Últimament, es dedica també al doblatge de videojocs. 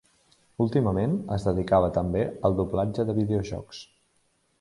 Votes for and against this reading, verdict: 1, 2, rejected